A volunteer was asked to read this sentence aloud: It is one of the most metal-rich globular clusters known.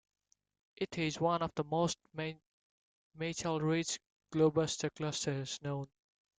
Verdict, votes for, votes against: rejected, 1, 2